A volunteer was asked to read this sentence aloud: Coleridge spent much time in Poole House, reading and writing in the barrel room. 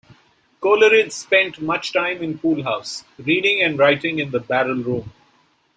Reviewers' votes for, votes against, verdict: 1, 2, rejected